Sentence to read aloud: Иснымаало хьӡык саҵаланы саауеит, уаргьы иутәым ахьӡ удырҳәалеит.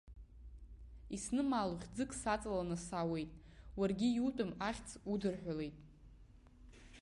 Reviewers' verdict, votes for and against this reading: rejected, 0, 2